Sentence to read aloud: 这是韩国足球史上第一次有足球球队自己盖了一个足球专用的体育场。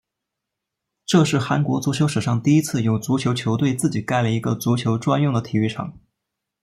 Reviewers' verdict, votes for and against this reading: rejected, 1, 2